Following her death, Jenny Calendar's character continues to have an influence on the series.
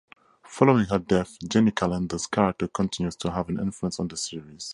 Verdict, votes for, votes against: accepted, 2, 0